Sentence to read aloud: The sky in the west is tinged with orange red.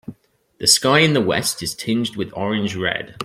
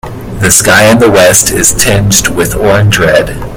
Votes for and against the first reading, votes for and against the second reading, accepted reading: 2, 0, 1, 2, first